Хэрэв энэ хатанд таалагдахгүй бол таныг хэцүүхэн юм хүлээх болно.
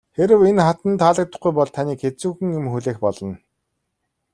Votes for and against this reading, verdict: 2, 0, accepted